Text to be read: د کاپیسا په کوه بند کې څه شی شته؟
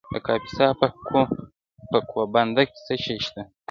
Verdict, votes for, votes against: accepted, 2, 1